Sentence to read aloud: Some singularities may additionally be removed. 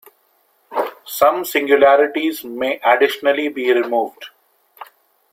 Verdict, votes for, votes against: accepted, 2, 1